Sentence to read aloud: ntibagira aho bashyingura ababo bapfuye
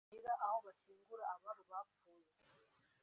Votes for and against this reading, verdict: 0, 2, rejected